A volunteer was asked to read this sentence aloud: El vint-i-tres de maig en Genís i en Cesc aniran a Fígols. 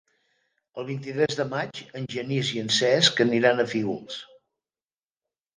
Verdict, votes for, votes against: accepted, 2, 0